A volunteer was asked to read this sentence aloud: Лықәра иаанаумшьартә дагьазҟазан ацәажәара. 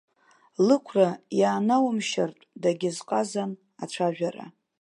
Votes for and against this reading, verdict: 2, 0, accepted